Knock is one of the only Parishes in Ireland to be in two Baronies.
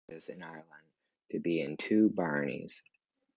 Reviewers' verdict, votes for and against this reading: rejected, 0, 2